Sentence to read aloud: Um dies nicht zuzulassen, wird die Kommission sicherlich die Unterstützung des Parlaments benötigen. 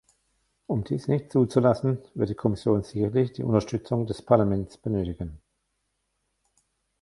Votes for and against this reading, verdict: 1, 2, rejected